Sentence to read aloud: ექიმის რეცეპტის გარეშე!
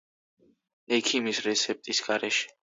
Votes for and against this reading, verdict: 2, 0, accepted